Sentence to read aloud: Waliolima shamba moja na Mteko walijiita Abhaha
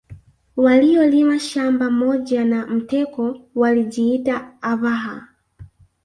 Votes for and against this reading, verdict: 0, 2, rejected